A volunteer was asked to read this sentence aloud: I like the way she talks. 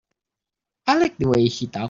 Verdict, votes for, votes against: rejected, 2, 6